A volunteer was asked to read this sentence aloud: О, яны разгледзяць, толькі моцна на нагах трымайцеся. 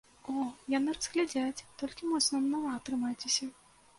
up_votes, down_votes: 1, 2